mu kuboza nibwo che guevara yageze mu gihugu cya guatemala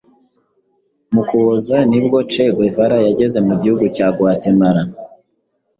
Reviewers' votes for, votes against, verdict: 2, 0, accepted